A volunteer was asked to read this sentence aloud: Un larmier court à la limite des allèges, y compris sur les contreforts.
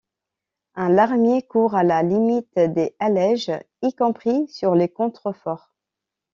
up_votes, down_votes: 2, 1